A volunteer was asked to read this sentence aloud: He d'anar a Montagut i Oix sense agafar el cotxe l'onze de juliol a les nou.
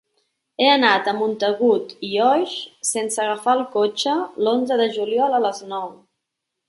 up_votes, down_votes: 1, 2